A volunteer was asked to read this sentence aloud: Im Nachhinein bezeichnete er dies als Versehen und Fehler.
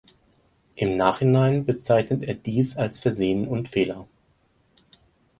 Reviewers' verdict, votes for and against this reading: rejected, 2, 4